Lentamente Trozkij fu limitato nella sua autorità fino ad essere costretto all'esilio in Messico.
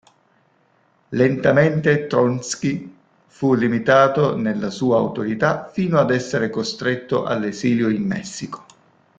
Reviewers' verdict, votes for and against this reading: rejected, 1, 2